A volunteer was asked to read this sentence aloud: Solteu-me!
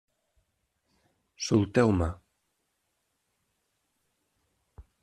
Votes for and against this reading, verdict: 2, 0, accepted